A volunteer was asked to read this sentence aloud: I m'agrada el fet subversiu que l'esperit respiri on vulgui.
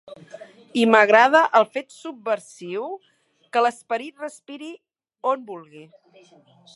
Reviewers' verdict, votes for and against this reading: accepted, 4, 0